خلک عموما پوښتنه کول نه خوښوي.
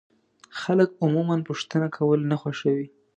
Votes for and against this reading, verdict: 2, 0, accepted